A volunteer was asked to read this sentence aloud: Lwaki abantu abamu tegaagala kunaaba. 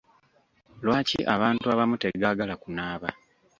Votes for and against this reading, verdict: 2, 0, accepted